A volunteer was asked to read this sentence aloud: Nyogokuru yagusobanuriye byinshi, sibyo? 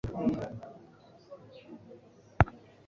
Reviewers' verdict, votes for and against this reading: rejected, 0, 3